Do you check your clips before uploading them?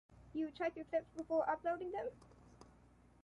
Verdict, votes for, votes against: accepted, 2, 0